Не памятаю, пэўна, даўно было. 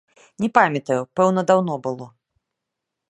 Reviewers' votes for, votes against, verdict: 1, 2, rejected